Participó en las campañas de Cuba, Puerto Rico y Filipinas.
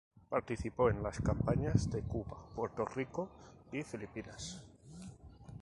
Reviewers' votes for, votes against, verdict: 0, 2, rejected